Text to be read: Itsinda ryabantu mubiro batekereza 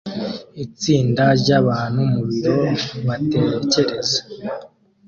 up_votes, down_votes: 2, 0